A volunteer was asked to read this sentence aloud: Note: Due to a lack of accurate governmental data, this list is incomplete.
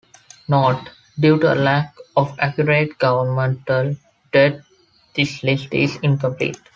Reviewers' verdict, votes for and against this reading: rejected, 1, 3